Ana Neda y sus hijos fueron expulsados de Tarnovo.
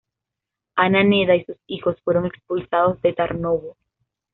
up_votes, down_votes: 2, 0